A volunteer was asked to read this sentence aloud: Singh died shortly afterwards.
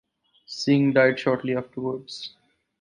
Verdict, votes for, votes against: accepted, 4, 2